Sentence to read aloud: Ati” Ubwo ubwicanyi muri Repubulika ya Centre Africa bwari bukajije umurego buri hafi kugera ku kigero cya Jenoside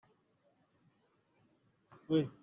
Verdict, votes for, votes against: rejected, 0, 2